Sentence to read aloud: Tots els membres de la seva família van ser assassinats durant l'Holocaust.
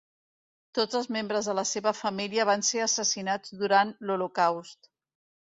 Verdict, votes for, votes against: accepted, 2, 0